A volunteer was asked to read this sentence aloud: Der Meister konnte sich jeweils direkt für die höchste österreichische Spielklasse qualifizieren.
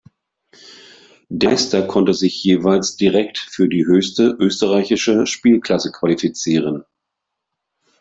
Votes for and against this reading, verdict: 0, 2, rejected